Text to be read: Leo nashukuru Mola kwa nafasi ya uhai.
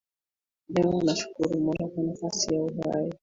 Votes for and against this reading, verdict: 1, 2, rejected